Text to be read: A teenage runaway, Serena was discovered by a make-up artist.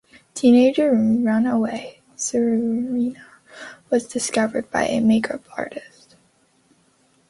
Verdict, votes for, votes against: rejected, 1, 2